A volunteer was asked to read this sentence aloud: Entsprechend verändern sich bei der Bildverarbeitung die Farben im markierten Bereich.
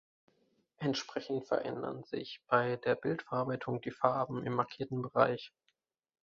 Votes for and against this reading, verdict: 3, 0, accepted